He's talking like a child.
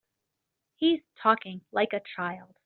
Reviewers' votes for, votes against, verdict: 4, 0, accepted